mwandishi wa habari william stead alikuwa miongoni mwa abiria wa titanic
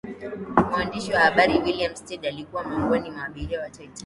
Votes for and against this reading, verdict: 16, 3, accepted